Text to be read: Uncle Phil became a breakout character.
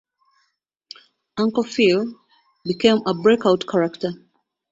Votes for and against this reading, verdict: 2, 1, accepted